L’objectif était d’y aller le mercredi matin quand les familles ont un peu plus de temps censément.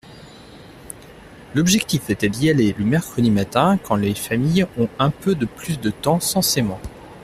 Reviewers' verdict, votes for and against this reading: rejected, 0, 2